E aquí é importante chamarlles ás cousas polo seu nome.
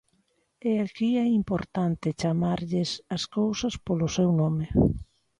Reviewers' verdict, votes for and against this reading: accepted, 3, 0